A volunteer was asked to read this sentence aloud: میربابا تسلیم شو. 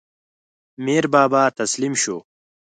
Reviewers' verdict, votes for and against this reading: accepted, 4, 0